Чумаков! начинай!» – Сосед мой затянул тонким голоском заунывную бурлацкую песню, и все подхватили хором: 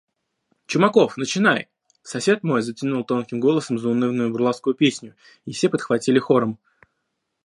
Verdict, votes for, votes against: rejected, 1, 2